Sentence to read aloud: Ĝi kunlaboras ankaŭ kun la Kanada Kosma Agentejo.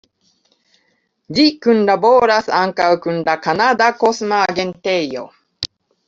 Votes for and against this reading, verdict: 2, 0, accepted